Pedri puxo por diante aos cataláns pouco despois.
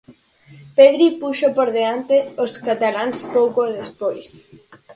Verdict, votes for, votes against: accepted, 4, 0